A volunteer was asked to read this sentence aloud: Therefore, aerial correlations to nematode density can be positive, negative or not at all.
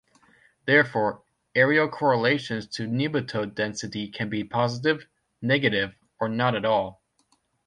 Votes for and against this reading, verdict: 2, 0, accepted